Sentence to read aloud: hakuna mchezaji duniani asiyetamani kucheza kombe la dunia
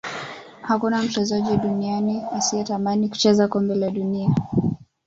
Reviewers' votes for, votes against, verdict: 2, 1, accepted